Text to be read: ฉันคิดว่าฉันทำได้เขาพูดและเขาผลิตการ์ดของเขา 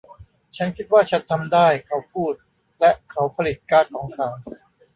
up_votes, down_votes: 0, 2